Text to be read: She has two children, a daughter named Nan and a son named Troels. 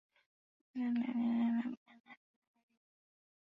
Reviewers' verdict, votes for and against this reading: rejected, 0, 2